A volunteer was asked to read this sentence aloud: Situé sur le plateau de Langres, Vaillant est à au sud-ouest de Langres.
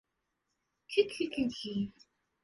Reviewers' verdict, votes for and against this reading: rejected, 0, 2